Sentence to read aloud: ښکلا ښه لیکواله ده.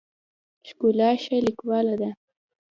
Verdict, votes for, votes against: accepted, 2, 0